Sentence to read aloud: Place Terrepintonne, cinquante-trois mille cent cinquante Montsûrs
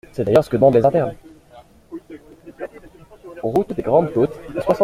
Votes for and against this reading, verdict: 0, 2, rejected